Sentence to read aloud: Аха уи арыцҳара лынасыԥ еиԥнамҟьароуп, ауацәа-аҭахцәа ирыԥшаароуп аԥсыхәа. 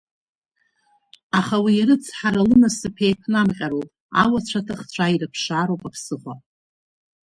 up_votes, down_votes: 3, 0